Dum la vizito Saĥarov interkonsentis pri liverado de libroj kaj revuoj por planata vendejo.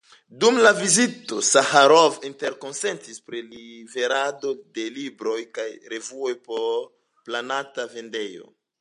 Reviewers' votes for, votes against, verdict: 2, 0, accepted